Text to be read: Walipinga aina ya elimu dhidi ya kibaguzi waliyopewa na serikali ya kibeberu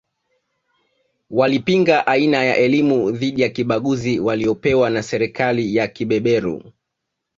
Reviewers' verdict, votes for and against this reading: accepted, 2, 0